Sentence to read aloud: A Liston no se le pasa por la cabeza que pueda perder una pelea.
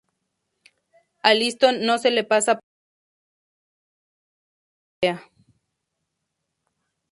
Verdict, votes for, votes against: rejected, 0, 2